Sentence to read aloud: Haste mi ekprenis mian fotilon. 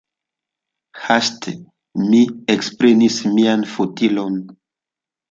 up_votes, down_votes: 0, 2